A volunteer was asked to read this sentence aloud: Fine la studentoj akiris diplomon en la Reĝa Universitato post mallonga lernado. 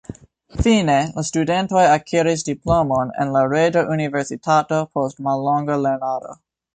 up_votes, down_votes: 2, 0